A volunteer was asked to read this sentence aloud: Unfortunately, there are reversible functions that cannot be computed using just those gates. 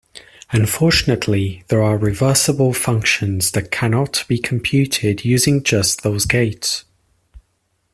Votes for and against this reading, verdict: 2, 0, accepted